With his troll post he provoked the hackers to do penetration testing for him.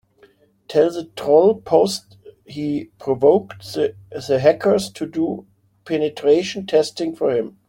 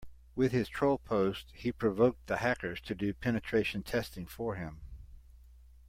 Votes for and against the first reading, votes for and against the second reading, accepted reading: 0, 2, 2, 0, second